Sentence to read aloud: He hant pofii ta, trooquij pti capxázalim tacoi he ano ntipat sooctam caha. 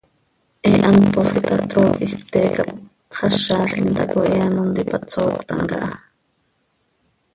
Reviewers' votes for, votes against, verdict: 0, 2, rejected